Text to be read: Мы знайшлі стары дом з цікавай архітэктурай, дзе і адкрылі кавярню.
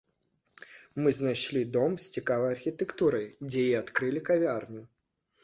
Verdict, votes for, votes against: rejected, 1, 2